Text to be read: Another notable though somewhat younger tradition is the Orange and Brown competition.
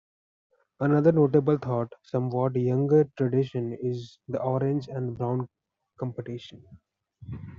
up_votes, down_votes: 1, 2